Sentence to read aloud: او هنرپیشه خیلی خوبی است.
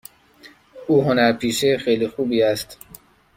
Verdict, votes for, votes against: accepted, 2, 0